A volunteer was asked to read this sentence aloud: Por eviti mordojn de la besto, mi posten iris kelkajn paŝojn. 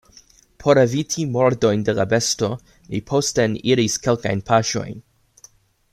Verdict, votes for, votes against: accepted, 2, 0